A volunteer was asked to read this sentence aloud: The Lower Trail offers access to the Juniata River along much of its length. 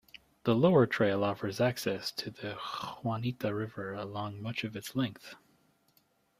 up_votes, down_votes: 1, 2